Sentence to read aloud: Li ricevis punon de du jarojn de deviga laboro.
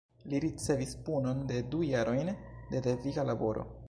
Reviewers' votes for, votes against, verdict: 1, 2, rejected